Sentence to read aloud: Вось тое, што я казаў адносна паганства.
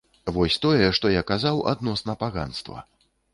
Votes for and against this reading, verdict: 2, 0, accepted